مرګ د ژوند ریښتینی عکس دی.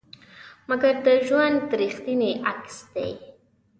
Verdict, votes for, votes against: rejected, 1, 2